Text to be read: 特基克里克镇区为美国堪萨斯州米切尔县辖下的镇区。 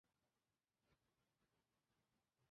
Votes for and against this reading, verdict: 0, 7, rejected